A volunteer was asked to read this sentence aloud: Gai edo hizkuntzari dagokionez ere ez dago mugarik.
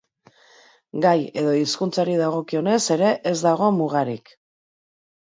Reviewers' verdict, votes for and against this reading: accepted, 2, 0